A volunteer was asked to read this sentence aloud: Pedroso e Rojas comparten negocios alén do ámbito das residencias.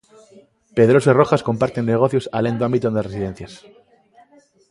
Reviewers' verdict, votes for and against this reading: rejected, 0, 2